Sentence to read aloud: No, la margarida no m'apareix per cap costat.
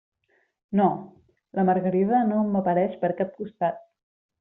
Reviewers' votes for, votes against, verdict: 2, 0, accepted